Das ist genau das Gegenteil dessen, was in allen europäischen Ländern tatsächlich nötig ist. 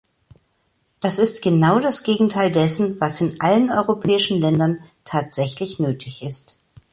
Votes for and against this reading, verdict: 2, 0, accepted